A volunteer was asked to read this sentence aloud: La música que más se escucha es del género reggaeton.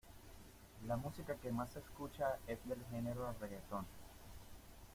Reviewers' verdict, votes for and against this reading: accepted, 2, 0